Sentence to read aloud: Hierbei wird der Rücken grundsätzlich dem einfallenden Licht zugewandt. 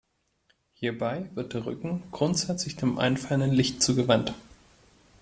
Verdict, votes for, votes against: accepted, 2, 0